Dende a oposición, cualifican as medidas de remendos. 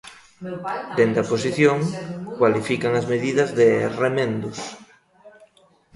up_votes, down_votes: 0, 2